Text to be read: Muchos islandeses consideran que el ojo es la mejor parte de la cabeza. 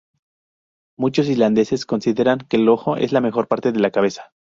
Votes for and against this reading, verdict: 0, 2, rejected